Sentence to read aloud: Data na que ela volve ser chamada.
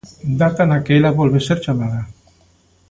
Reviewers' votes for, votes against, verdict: 2, 0, accepted